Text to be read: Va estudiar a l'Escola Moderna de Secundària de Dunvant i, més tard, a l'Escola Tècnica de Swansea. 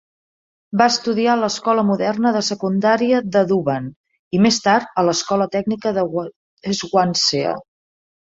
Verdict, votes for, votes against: rejected, 1, 2